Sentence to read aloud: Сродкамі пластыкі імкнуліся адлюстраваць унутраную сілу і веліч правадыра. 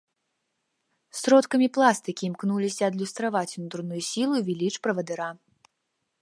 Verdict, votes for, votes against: accepted, 2, 0